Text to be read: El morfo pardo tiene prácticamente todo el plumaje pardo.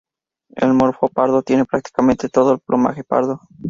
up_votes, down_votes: 2, 0